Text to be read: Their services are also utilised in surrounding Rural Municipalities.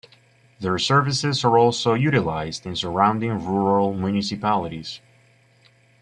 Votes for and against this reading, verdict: 0, 2, rejected